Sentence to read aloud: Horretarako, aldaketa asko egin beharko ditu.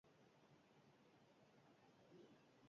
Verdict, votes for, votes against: rejected, 0, 4